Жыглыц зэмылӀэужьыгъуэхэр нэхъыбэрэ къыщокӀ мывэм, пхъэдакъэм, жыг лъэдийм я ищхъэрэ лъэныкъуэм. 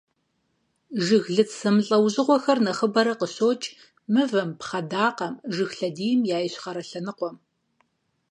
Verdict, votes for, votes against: accepted, 4, 0